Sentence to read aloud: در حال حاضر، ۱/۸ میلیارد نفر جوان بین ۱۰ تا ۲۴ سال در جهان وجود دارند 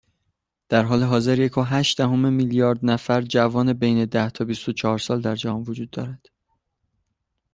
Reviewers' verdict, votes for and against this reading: rejected, 0, 2